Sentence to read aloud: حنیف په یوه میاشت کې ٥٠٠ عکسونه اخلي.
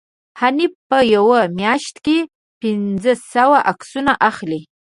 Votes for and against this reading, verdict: 0, 2, rejected